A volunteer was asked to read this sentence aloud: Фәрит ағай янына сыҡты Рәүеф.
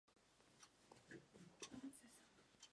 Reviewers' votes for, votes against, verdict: 0, 2, rejected